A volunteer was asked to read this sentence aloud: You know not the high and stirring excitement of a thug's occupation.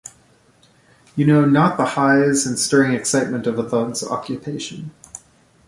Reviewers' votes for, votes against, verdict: 1, 2, rejected